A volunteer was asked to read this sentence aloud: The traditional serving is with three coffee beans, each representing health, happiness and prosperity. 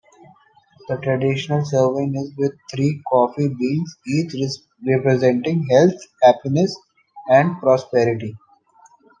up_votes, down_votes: 0, 2